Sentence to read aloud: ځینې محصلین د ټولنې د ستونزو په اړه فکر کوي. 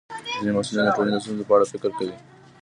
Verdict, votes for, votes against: accepted, 2, 0